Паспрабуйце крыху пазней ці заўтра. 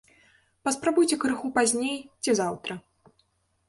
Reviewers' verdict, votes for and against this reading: accepted, 3, 0